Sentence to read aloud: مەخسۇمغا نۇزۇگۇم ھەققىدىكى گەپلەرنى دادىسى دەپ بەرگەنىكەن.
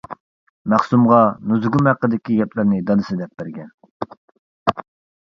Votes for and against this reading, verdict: 1, 2, rejected